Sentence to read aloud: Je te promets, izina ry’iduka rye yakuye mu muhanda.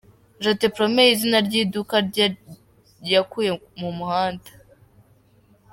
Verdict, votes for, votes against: accepted, 2, 0